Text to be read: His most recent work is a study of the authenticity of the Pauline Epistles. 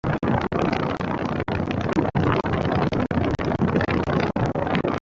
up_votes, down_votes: 0, 2